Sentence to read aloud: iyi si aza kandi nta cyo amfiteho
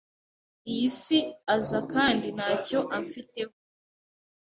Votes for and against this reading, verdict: 2, 0, accepted